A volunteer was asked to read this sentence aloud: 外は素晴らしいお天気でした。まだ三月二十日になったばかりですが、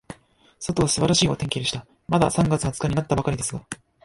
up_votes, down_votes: 1, 2